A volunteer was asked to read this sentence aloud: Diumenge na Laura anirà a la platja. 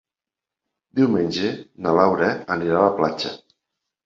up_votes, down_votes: 3, 0